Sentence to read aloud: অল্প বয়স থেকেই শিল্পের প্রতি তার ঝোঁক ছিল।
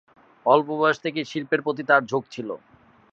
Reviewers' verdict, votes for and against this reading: accepted, 2, 0